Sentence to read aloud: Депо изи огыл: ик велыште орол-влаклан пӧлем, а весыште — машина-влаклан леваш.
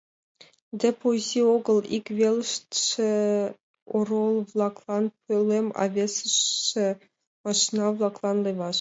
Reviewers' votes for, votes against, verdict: 2, 1, accepted